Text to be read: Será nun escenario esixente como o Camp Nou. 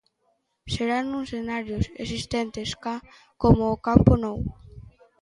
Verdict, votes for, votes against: rejected, 0, 2